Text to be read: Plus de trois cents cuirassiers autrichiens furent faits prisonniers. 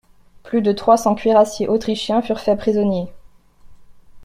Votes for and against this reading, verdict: 2, 0, accepted